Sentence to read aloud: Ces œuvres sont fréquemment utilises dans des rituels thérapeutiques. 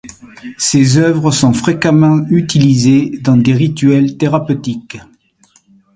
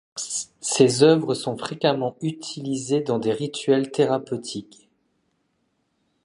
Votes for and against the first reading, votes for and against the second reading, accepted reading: 2, 0, 0, 2, first